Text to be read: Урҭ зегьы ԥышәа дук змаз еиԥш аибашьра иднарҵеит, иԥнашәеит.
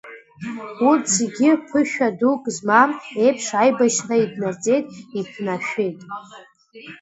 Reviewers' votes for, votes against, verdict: 1, 2, rejected